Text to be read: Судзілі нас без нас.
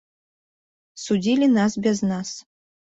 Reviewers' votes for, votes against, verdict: 2, 0, accepted